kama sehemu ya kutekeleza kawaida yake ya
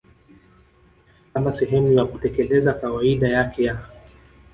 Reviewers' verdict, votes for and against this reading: accepted, 2, 1